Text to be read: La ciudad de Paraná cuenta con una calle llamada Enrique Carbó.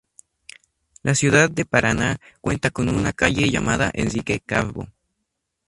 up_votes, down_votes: 4, 0